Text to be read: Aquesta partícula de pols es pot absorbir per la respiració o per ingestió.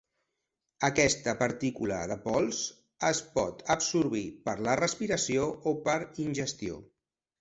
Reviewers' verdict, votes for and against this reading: accepted, 4, 0